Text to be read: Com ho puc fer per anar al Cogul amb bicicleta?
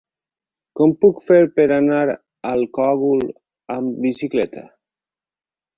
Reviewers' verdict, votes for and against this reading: rejected, 0, 4